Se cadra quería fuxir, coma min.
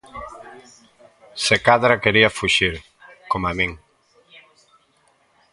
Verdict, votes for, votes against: rejected, 0, 2